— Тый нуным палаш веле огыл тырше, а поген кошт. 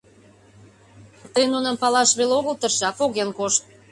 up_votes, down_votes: 2, 0